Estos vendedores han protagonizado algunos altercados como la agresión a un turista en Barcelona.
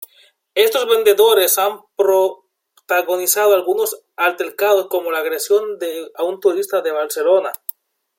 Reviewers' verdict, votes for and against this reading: accepted, 2, 0